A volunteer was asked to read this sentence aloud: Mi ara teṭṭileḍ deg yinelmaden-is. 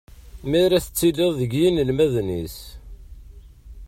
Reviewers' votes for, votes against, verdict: 1, 2, rejected